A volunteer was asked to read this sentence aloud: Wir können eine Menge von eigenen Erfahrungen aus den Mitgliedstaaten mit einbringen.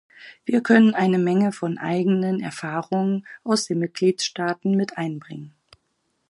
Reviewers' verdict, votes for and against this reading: accepted, 4, 0